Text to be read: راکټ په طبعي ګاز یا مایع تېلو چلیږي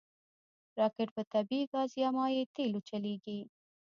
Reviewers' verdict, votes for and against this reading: rejected, 1, 2